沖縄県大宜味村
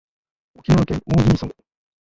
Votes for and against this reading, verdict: 0, 2, rejected